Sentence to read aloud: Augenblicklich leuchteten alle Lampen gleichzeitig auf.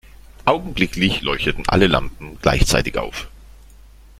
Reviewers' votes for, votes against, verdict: 2, 1, accepted